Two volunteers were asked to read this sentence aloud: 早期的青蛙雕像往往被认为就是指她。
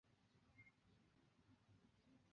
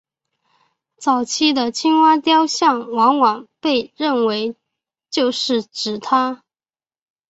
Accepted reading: second